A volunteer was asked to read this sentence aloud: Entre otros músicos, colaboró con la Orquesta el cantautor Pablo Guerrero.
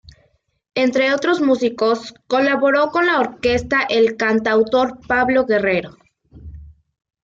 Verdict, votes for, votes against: accepted, 2, 0